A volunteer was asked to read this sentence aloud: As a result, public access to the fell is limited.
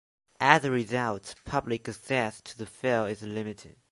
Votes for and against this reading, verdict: 2, 0, accepted